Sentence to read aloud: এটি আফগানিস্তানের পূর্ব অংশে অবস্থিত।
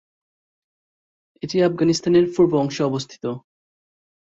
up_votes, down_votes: 3, 1